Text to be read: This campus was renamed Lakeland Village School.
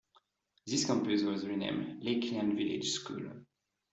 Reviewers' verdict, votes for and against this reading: accepted, 2, 1